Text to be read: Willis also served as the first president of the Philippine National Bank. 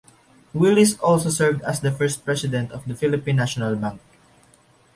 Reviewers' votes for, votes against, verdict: 2, 0, accepted